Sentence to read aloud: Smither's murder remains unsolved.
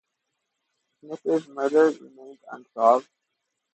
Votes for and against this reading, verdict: 0, 2, rejected